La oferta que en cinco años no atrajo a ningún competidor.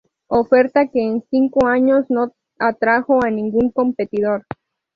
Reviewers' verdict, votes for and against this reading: accepted, 2, 0